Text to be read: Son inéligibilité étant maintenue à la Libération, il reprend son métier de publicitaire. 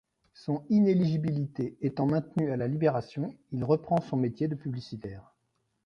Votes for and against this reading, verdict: 0, 2, rejected